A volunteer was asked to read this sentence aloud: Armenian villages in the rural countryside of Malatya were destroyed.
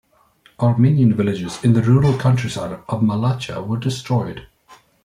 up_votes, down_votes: 2, 0